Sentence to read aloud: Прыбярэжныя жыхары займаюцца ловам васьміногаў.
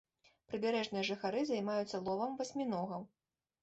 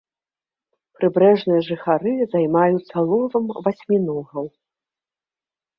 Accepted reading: first